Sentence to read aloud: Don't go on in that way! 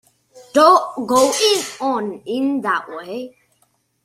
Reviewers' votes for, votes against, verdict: 0, 2, rejected